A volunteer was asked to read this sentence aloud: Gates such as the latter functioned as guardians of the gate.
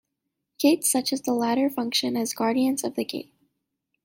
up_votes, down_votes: 2, 1